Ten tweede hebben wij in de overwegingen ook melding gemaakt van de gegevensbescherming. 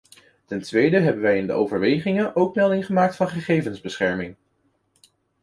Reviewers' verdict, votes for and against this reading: rejected, 1, 2